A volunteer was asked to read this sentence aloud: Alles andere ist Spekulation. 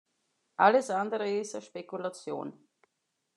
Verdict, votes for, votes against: rejected, 0, 2